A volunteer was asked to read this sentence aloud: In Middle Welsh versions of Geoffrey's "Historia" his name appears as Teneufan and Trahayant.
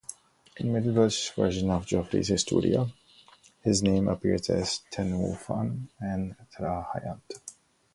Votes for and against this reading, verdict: 1, 2, rejected